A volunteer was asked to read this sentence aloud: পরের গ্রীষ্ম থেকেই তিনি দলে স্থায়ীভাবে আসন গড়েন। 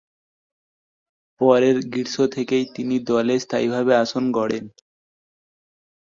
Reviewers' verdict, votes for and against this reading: rejected, 1, 3